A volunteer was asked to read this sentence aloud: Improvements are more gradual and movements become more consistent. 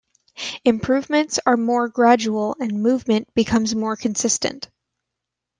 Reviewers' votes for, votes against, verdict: 0, 2, rejected